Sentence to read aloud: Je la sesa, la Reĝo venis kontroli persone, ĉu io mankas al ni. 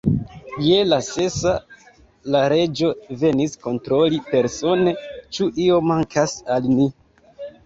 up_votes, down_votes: 2, 0